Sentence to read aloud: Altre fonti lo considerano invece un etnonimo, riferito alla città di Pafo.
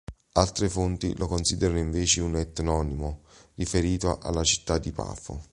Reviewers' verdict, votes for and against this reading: accepted, 2, 0